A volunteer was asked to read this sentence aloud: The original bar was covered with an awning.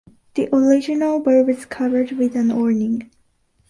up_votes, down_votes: 0, 2